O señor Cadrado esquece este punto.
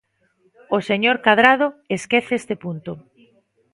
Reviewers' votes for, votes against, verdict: 2, 0, accepted